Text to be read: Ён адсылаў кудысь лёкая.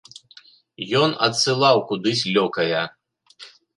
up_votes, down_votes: 2, 0